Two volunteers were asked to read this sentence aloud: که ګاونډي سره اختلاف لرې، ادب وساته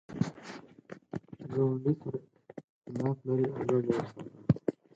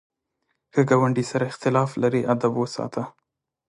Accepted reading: second